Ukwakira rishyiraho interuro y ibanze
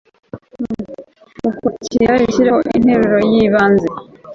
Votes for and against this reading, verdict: 2, 3, rejected